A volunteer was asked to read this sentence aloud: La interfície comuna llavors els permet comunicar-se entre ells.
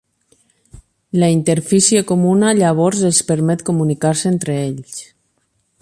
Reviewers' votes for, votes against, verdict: 12, 0, accepted